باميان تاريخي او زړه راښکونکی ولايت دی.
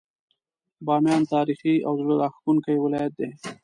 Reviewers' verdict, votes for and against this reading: accepted, 2, 0